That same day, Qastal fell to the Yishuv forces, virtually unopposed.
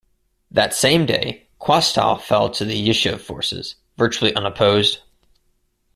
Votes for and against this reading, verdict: 2, 0, accepted